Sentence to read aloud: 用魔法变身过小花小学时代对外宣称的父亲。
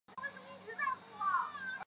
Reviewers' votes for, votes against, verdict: 0, 2, rejected